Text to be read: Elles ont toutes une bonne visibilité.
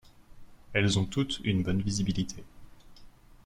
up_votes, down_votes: 2, 0